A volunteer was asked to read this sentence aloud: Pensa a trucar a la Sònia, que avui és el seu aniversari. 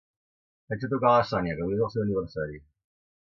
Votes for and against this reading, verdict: 2, 3, rejected